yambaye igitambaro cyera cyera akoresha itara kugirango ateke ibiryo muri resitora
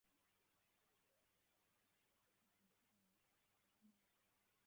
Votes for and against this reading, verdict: 0, 2, rejected